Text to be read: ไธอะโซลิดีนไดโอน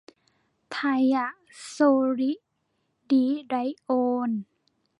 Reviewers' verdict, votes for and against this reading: rejected, 0, 2